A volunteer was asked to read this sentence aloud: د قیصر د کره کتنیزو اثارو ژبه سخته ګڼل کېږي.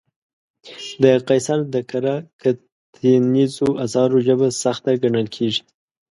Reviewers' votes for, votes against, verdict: 0, 2, rejected